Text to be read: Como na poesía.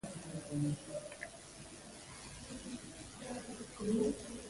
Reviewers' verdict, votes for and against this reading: rejected, 0, 3